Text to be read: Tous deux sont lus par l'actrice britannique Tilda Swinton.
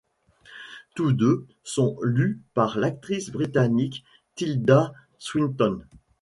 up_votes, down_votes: 2, 0